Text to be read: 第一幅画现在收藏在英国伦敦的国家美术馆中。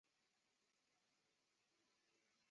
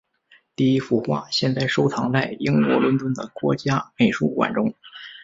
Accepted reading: second